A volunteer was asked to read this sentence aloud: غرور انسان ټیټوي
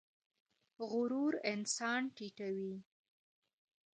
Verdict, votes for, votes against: rejected, 1, 2